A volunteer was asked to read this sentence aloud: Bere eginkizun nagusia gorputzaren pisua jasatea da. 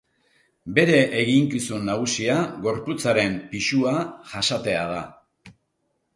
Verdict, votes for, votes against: accepted, 2, 0